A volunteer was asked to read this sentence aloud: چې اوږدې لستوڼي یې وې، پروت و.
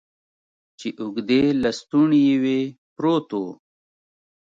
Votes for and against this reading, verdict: 3, 0, accepted